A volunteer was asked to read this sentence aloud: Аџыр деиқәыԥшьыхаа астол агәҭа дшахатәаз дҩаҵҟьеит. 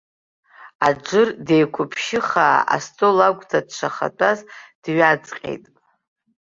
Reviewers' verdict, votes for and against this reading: accepted, 2, 0